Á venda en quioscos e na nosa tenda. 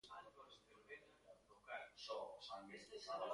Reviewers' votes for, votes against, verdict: 0, 2, rejected